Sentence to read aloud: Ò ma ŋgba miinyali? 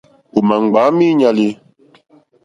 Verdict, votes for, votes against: accepted, 2, 0